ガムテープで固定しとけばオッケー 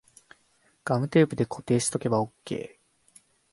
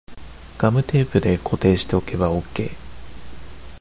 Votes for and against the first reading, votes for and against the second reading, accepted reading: 1, 2, 2, 0, second